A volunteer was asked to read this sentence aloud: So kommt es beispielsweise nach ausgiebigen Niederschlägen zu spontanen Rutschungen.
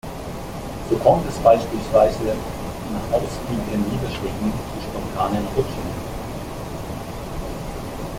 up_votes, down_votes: 2, 0